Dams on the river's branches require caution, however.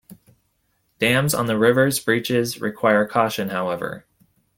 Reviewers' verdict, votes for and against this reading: rejected, 0, 2